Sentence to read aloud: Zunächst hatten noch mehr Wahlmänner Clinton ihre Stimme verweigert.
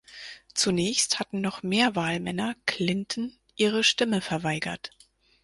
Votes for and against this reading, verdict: 4, 0, accepted